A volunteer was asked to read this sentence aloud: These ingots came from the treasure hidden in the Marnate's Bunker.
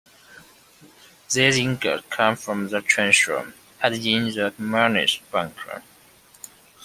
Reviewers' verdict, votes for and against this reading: rejected, 0, 2